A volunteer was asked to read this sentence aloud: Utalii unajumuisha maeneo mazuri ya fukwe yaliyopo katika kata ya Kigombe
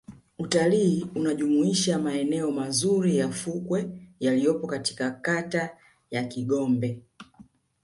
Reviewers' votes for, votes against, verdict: 2, 1, accepted